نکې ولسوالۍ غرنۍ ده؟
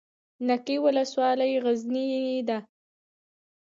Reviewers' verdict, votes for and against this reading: rejected, 1, 2